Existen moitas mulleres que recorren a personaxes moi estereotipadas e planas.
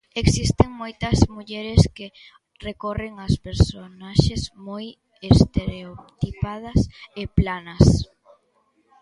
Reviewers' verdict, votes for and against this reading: accepted, 2, 1